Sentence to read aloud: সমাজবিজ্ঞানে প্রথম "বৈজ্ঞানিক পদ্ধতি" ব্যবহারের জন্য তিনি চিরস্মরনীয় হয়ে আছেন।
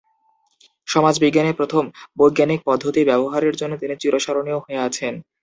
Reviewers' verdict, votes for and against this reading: accepted, 2, 0